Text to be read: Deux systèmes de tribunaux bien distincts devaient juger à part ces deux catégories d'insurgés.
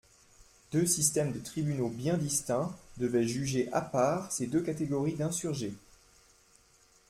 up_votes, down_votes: 2, 0